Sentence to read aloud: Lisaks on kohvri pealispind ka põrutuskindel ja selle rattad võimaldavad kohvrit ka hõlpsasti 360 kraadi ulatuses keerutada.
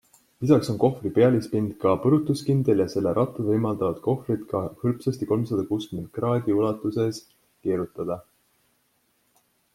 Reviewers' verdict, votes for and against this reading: rejected, 0, 2